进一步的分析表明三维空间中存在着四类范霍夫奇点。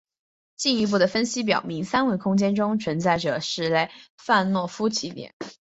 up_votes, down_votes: 1, 2